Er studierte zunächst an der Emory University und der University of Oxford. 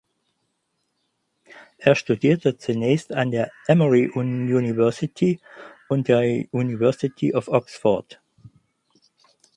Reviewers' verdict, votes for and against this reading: rejected, 2, 4